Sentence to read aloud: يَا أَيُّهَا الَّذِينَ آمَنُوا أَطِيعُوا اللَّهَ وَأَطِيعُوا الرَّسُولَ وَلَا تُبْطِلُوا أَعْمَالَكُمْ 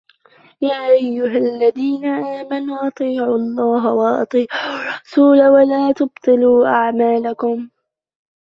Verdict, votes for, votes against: rejected, 0, 2